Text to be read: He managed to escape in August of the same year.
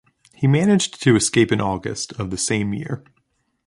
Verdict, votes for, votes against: accepted, 2, 0